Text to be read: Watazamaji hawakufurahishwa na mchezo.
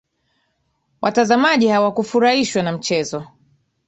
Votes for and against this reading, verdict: 2, 1, accepted